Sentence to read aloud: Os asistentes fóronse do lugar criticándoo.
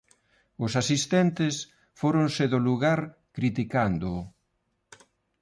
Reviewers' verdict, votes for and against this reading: accepted, 2, 0